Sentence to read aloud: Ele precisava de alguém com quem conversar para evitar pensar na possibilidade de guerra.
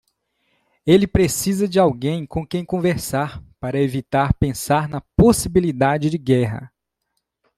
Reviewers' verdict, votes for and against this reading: rejected, 0, 2